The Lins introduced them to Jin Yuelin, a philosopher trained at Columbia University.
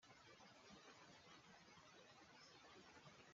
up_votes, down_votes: 0, 2